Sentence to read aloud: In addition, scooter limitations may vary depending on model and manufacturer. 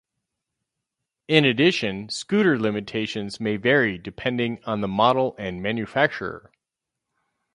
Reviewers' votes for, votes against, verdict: 2, 2, rejected